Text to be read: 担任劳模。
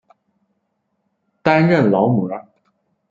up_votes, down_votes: 0, 2